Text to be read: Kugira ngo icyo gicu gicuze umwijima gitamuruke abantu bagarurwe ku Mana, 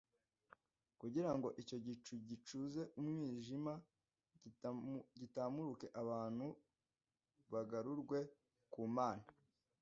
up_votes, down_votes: 1, 2